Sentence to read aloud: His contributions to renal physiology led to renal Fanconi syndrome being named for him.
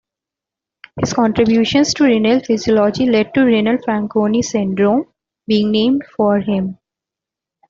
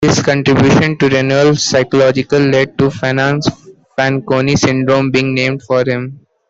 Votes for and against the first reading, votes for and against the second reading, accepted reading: 2, 1, 0, 2, first